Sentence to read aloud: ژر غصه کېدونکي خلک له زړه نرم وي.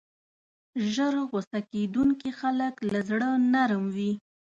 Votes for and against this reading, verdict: 2, 0, accepted